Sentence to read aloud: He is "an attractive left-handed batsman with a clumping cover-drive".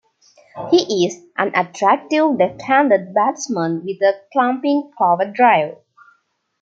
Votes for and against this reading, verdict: 2, 0, accepted